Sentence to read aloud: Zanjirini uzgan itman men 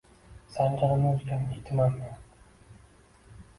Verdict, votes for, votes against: accepted, 2, 0